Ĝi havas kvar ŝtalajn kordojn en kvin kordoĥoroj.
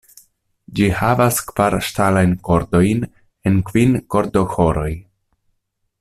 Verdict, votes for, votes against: accepted, 2, 0